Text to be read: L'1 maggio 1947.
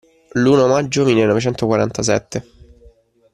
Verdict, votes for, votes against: rejected, 0, 2